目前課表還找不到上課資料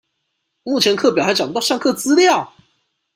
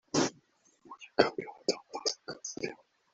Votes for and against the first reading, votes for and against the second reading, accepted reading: 2, 1, 0, 2, first